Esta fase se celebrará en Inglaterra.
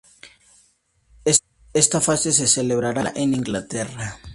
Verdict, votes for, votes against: rejected, 0, 2